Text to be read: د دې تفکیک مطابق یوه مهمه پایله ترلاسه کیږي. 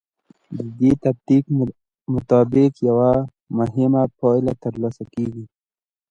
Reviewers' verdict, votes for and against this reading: rejected, 0, 2